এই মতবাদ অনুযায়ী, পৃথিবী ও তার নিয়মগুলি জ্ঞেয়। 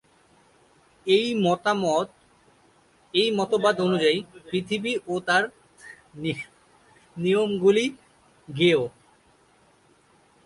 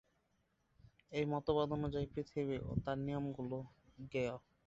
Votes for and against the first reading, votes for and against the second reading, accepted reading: 1, 3, 2, 0, second